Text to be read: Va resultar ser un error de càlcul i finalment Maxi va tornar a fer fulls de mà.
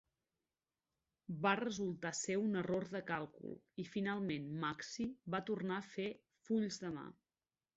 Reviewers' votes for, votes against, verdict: 2, 0, accepted